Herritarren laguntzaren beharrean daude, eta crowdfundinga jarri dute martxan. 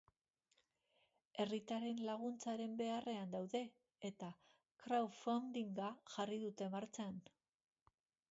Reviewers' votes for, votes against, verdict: 1, 2, rejected